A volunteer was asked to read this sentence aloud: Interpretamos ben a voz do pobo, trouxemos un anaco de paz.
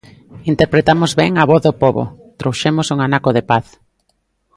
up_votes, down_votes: 0, 2